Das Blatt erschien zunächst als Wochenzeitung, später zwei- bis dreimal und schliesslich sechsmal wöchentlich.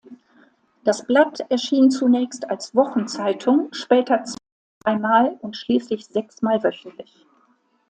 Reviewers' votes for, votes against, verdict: 0, 2, rejected